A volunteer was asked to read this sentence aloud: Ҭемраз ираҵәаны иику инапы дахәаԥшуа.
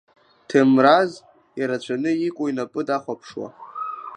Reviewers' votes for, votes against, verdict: 1, 2, rejected